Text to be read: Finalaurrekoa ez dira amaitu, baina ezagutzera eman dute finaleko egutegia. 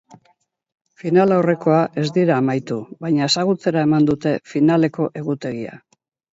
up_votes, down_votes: 2, 0